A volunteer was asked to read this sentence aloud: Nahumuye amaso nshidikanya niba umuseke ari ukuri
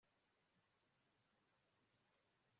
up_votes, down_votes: 1, 2